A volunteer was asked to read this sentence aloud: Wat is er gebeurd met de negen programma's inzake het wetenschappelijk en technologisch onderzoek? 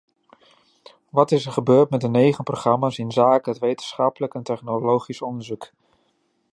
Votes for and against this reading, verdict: 2, 0, accepted